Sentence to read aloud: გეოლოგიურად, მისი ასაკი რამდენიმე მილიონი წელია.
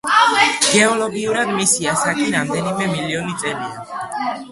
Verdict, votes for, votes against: accepted, 2, 0